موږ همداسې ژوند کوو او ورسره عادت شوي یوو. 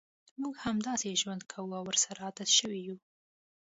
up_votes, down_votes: 2, 0